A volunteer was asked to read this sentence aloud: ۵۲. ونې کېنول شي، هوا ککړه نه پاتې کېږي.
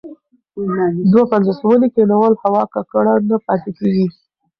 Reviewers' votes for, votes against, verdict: 0, 2, rejected